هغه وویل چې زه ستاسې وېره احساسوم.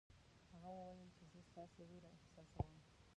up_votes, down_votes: 1, 2